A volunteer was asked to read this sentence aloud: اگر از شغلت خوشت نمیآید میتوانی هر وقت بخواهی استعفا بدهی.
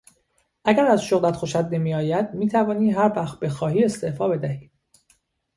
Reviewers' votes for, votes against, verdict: 2, 1, accepted